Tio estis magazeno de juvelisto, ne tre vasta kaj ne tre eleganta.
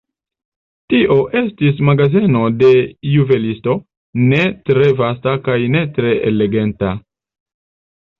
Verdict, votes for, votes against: rejected, 0, 2